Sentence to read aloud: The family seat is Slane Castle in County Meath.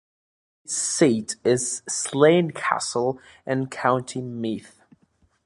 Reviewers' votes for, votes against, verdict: 0, 2, rejected